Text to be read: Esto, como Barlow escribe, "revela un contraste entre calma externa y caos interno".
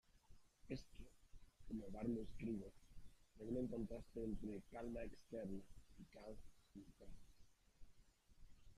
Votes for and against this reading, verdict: 0, 2, rejected